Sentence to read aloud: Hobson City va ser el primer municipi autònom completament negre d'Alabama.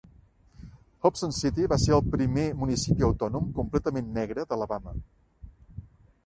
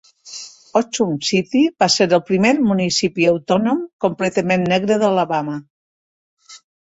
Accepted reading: first